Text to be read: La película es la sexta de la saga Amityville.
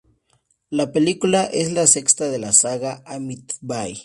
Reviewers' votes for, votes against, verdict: 4, 0, accepted